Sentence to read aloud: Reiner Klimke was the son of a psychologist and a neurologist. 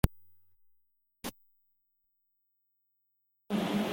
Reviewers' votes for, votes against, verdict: 0, 2, rejected